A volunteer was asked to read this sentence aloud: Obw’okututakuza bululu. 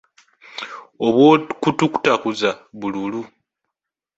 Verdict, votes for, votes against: rejected, 1, 2